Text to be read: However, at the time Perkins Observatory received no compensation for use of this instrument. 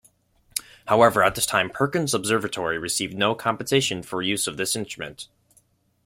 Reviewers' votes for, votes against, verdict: 0, 2, rejected